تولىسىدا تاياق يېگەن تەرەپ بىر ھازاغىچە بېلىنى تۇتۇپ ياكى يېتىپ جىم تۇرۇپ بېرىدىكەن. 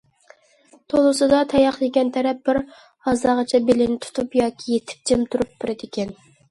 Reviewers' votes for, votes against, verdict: 2, 0, accepted